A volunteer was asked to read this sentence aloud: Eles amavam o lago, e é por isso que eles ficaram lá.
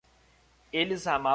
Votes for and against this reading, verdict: 0, 2, rejected